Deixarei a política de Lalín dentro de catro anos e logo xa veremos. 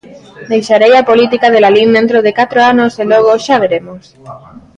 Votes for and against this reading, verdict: 0, 2, rejected